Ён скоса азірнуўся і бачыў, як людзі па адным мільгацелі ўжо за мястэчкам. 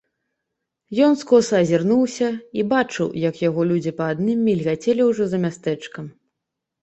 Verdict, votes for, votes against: rejected, 1, 2